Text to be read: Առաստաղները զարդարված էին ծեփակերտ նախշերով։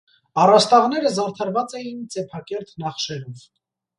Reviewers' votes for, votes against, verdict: 2, 0, accepted